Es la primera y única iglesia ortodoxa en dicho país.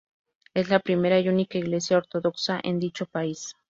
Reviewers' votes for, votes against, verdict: 2, 0, accepted